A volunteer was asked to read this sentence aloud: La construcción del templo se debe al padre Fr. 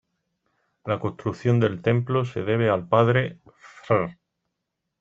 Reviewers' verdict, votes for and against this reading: rejected, 1, 2